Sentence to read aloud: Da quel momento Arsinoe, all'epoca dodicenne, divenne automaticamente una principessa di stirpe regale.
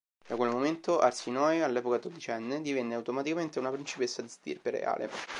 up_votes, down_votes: 1, 2